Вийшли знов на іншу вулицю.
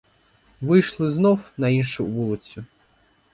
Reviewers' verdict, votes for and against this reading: accepted, 4, 0